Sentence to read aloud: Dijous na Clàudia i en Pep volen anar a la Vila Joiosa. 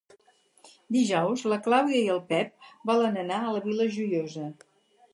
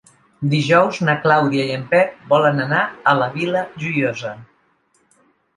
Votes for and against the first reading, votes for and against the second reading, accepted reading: 0, 4, 2, 0, second